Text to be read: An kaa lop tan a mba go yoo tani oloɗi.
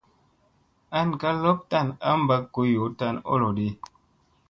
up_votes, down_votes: 2, 0